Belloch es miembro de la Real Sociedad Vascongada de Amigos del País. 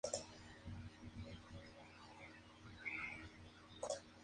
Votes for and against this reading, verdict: 0, 2, rejected